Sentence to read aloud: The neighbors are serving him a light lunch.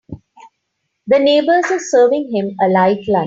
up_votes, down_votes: 2, 4